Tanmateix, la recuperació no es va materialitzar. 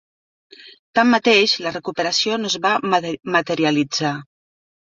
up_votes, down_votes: 0, 2